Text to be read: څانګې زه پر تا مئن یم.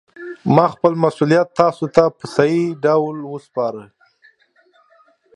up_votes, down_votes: 0, 2